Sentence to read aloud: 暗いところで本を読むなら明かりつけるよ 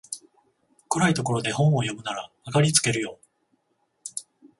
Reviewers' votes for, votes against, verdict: 14, 0, accepted